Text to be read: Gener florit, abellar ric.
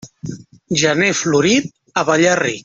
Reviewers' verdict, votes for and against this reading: rejected, 0, 2